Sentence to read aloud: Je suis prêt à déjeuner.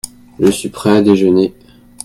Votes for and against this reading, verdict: 2, 0, accepted